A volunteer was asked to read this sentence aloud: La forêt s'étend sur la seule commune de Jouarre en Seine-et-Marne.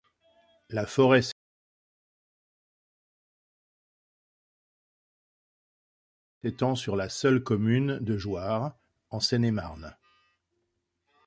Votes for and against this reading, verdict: 0, 2, rejected